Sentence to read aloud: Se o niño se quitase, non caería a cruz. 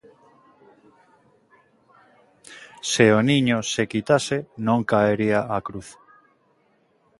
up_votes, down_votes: 2, 0